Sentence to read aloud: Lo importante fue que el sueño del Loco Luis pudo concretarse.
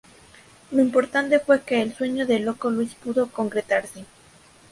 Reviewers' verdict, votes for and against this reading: accepted, 2, 0